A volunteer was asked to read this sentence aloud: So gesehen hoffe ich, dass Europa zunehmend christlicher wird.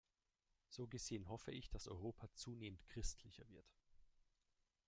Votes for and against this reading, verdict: 1, 2, rejected